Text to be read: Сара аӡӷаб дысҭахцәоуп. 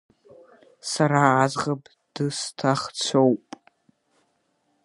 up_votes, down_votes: 1, 2